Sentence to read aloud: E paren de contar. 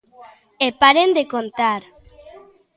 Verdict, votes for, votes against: accepted, 2, 0